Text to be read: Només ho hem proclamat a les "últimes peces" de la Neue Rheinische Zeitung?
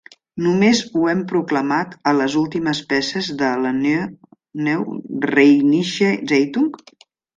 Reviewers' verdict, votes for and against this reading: rejected, 0, 2